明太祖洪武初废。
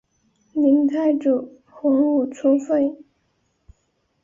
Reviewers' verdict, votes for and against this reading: accepted, 6, 0